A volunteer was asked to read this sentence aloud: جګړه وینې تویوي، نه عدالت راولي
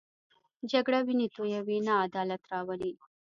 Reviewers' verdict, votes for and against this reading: accepted, 2, 0